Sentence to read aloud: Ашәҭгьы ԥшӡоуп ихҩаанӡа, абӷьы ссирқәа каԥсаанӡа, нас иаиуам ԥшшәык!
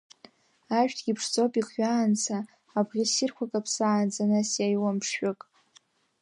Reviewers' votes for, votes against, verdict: 0, 2, rejected